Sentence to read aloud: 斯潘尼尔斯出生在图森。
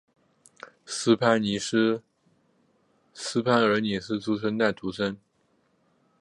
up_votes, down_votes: 1, 5